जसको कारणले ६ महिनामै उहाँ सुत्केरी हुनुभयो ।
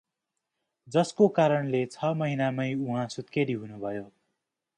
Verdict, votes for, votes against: rejected, 0, 2